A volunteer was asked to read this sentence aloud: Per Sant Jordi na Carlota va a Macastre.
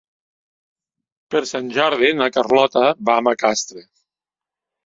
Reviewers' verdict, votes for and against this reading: accepted, 4, 0